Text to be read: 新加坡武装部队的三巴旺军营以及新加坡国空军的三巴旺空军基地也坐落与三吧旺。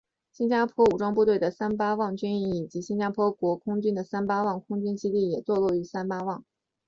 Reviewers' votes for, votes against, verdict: 3, 0, accepted